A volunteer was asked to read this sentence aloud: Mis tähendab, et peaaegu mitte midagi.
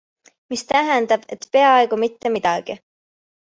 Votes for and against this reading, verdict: 2, 0, accepted